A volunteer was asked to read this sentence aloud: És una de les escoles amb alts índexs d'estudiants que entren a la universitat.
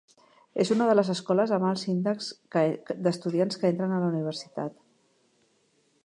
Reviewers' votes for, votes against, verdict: 0, 2, rejected